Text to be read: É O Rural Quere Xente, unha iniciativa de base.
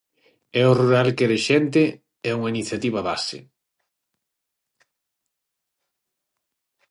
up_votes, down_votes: 3, 3